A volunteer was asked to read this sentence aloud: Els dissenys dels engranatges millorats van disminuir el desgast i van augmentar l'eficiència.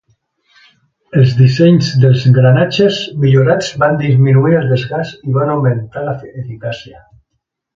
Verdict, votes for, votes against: rejected, 0, 3